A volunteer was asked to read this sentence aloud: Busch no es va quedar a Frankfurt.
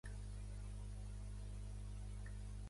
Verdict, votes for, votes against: rejected, 0, 2